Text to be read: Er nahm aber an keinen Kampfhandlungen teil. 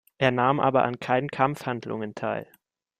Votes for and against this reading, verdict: 1, 2, rejected